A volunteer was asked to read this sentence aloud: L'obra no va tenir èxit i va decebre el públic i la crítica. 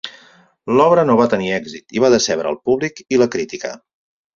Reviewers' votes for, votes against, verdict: 4, 0, accepted